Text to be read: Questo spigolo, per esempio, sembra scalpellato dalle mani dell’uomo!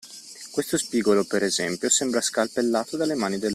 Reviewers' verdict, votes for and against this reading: rejected, 0, 2